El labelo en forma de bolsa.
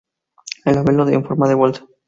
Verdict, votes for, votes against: rejected, 2, 2